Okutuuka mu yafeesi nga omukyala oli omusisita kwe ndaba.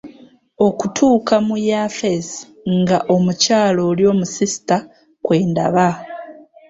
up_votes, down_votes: 2, 0